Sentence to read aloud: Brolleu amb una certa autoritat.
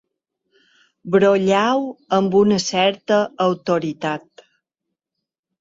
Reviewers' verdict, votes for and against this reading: accepted, 2, 1